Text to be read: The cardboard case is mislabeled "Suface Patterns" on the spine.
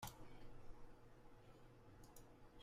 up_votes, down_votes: 0, 2